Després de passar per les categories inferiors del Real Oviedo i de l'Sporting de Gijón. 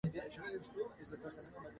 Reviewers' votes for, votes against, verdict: 0, 2, rejected